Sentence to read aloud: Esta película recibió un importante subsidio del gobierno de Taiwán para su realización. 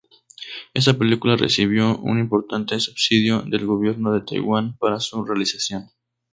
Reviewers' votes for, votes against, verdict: 2, 0, accepted